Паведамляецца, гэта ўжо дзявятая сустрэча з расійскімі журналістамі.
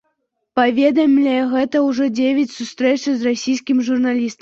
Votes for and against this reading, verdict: 0, 2, rejected